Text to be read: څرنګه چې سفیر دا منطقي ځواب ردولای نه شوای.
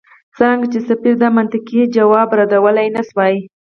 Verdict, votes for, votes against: rejected, 2, 4